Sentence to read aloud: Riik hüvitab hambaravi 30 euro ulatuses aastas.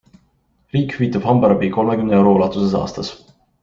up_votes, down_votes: 0, 2